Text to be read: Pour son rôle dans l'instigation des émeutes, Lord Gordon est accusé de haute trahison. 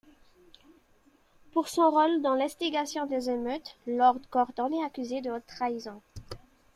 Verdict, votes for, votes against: accepted, 2, 0